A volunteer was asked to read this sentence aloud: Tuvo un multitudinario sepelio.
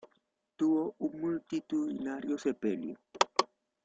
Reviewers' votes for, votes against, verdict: 0, 2, rejected